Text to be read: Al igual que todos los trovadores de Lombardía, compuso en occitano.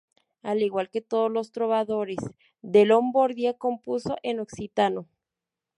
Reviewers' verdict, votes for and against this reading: rejected, 0, 4